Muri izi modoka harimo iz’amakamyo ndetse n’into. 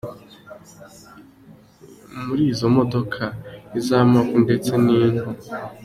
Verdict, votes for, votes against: rejected, 0, 2